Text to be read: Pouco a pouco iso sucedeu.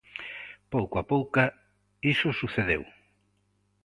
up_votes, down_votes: 0, 2